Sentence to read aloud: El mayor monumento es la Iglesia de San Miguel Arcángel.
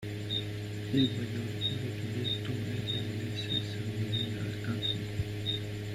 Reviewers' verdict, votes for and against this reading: rejected, 0, 2